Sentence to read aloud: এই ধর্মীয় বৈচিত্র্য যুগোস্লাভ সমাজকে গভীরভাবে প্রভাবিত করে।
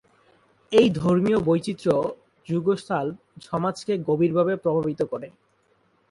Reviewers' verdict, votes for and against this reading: rejected, 0, 4